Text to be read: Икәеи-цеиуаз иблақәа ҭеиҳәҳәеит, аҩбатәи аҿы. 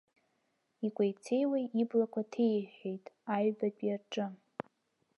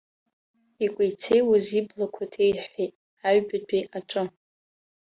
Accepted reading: second